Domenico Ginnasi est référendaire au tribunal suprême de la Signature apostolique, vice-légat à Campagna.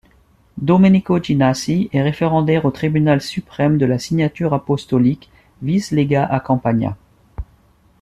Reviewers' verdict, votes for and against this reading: accepted, 2, 0